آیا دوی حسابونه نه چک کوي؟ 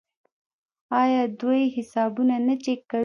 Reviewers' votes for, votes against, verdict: 1, 2, rejected